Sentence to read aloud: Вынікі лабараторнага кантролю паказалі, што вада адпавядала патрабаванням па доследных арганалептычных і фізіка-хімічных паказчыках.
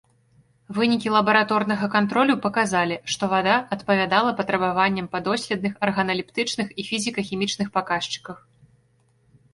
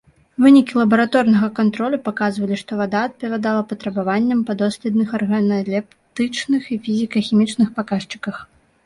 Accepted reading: first